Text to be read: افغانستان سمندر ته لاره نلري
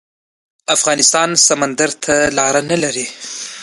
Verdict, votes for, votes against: accepted, 2, 0